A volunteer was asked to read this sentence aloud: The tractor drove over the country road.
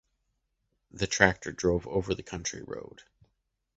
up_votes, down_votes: 2, 0